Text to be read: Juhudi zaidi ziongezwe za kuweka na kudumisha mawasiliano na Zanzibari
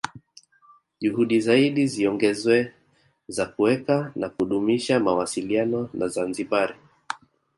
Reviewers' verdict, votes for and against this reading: accepted, 2, 0